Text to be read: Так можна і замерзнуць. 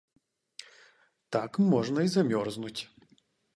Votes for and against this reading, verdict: 0, 2, rejected